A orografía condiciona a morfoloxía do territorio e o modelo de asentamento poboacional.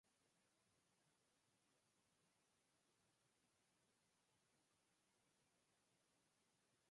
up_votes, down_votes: 0, 4